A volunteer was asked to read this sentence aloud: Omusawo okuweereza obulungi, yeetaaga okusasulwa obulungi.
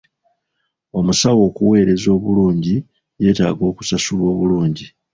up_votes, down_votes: 2, 0